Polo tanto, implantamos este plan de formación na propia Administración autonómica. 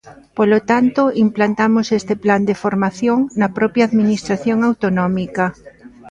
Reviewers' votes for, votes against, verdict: 2, 0, accepted